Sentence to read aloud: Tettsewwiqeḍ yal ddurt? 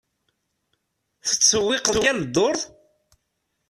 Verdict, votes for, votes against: rejected, 0, 2